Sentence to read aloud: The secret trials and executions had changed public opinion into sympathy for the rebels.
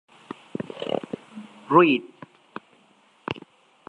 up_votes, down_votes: 0, 2